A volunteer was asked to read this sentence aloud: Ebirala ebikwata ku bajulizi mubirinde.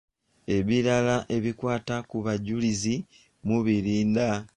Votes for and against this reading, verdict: 1, 2, rejected